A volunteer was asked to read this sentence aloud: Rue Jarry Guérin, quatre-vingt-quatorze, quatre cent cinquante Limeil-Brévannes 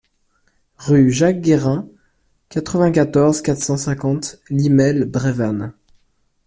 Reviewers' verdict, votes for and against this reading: rejected, 0, 2